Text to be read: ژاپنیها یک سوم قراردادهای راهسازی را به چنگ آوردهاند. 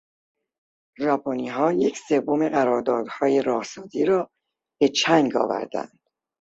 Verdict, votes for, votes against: rejected, 0, 2